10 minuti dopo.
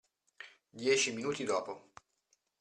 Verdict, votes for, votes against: rejected, 0, 2